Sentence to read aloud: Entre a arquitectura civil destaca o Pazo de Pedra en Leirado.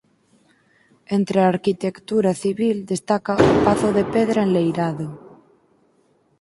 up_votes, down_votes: 2, 4